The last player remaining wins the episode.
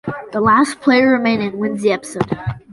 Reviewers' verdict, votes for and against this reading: accepted, 2, 0